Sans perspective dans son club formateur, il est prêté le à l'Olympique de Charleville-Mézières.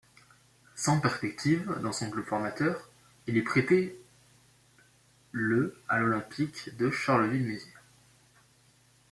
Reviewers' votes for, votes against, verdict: 0, 2, rejected